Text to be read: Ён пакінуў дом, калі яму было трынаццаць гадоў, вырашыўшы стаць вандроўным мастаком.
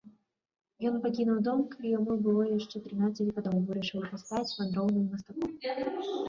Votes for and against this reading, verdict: 0, 2, rejected